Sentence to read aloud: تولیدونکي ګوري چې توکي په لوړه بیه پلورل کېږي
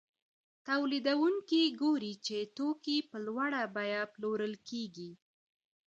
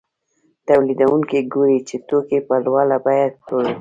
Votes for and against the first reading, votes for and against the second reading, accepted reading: 2, 0, 1, 2, first